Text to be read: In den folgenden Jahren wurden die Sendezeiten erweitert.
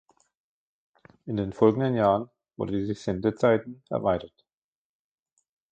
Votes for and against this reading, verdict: 0, 2, rejected